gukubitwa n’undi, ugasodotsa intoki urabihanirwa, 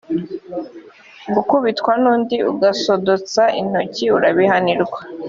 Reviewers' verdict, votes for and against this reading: accepted, 3, 0